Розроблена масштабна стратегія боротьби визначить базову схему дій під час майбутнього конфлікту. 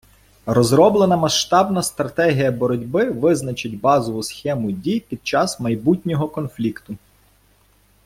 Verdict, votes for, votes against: accepted, 2, 0